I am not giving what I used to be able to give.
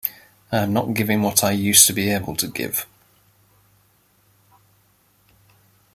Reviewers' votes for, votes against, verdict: 2, 0, accepted